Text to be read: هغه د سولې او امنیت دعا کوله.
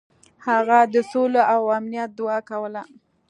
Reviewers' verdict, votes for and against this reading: accepted, 2, 0